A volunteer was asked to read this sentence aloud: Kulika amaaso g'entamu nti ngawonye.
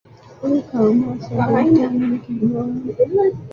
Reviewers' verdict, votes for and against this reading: rejected, 0, 2